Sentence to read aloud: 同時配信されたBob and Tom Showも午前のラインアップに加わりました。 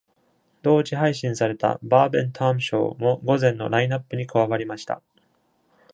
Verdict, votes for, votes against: accepted, 2, 0